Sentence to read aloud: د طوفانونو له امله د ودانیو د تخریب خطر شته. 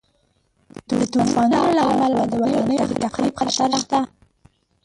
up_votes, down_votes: 0, 2